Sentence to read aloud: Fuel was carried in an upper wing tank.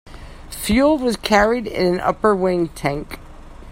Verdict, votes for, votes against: rejected, 1, 2